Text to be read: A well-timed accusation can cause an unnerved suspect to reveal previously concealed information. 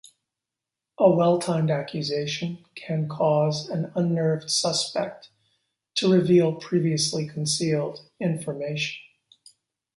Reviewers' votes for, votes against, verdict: 3, 0, accepted